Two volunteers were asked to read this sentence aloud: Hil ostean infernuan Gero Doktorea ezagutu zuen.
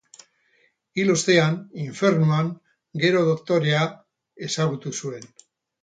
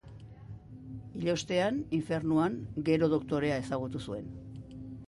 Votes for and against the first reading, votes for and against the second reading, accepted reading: 0, 2, 2, 0, second